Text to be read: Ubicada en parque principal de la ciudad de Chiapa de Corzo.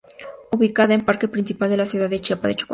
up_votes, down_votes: 0, 2